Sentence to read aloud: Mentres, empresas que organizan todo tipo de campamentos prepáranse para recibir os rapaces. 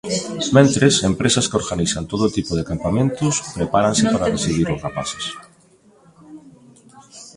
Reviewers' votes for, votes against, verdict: 2, 3, rejected